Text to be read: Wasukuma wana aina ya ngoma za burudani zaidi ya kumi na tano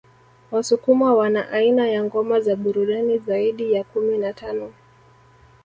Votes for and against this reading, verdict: 0, 2, rejected